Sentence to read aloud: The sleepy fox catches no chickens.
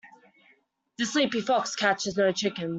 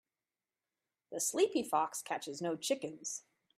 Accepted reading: second